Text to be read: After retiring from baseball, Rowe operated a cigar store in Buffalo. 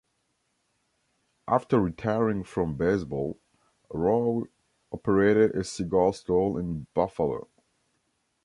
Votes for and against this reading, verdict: 1, 2, rejected